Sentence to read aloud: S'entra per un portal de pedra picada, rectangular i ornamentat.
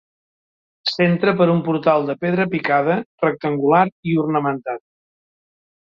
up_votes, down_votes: 3, 0